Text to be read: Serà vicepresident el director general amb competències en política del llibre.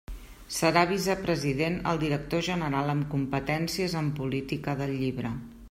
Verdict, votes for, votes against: accepted, 2, 0